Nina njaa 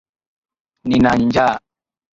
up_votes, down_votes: 3, 3